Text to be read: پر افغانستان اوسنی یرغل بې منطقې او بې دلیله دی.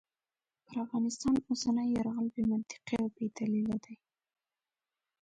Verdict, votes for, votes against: rejected, 0, 2